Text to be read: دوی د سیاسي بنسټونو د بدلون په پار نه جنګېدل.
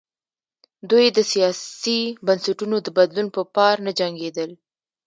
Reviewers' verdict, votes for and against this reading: rejected, 1, 2